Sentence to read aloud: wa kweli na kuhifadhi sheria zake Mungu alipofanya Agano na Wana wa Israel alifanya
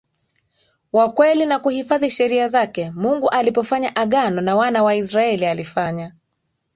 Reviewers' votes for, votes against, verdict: 2, 0, accepted